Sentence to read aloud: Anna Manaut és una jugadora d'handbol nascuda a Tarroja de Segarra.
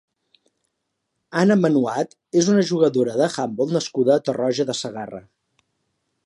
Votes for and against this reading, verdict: 1, 2, rejected